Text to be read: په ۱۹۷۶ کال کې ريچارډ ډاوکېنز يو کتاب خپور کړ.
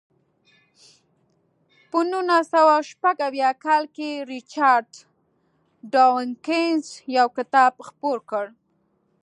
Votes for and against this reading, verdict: 0, 2, rejected